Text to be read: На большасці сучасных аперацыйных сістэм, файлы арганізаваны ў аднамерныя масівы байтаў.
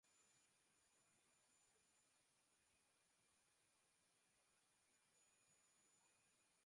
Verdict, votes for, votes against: rejected, 0, 2